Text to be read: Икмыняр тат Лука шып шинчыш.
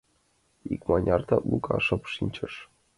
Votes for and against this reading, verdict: 2, 0, accepted